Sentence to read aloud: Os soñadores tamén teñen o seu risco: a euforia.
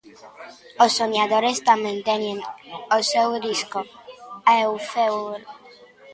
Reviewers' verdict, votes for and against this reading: rejected, 0, 2